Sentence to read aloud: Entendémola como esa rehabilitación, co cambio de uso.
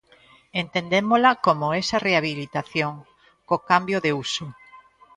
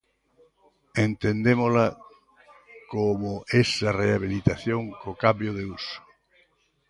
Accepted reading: first